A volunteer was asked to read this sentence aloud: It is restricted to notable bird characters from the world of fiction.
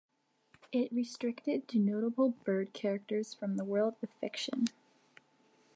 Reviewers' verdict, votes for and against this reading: rejected, 0, 2